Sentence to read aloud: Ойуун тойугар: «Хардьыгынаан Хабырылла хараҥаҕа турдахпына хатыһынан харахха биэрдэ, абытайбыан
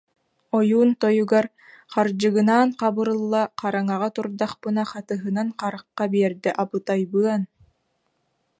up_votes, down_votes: 2, 0